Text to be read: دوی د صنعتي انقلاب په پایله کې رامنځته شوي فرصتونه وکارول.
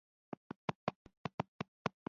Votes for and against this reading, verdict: 0, 2, rejected